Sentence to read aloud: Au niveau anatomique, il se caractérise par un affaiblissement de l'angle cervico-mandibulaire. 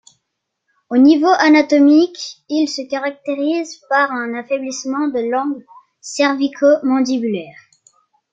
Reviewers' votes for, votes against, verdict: 2, 0, accepted